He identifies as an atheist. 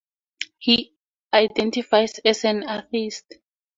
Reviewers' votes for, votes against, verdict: 2, 0, accepted